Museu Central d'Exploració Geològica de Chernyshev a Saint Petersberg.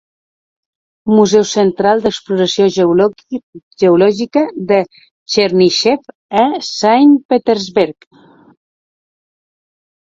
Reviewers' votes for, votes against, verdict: 0, 2, rejected